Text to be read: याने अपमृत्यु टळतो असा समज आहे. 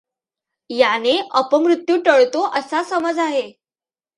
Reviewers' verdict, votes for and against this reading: accepted, 2, 0